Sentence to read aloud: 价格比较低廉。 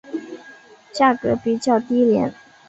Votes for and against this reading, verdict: 2, 0, accepted